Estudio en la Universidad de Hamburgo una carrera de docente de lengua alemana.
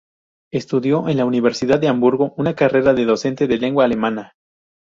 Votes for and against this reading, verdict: 2, 0, accepted